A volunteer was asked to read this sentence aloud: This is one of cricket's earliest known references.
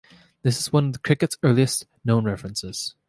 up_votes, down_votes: 3, 0